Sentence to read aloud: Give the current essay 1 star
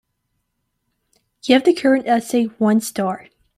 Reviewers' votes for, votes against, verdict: 0, 2, rejected